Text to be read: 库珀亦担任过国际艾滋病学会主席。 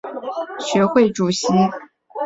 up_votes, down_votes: 0, 5